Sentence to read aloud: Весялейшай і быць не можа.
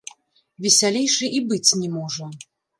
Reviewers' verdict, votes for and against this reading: rejected, 1, 2